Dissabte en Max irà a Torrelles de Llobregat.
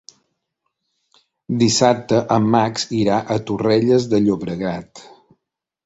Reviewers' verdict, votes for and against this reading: accepted, 3, 0